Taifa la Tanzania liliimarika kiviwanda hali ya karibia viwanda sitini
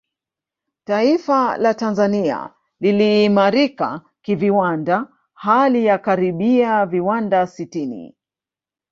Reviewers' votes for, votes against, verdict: 2, 0, accepted